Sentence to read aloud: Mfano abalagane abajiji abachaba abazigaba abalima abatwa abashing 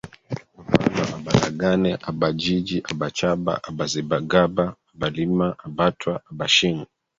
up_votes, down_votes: 0, 2